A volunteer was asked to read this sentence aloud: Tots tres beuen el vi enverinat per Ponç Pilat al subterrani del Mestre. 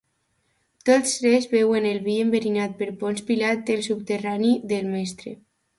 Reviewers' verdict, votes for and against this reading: accepted, 2, 0